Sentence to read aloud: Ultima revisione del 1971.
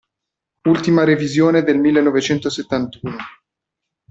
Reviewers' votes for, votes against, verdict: 0, 2, rejected